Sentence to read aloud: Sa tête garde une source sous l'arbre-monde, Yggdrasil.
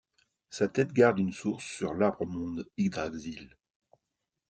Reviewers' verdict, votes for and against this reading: accepted, 2, 0